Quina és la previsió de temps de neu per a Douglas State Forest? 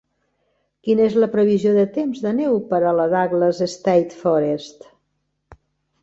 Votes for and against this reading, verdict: 1, 2, rejected